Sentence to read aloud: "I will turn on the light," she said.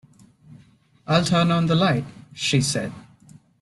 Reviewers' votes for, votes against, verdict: 0, 2, rejected